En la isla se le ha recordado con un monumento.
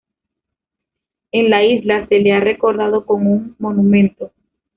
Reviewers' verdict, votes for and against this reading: rejected, 0, 2